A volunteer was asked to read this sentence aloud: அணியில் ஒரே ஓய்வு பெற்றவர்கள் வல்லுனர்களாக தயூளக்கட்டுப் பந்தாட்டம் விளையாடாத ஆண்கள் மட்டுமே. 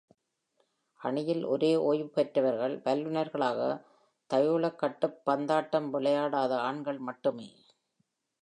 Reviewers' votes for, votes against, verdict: 0, 2, rejected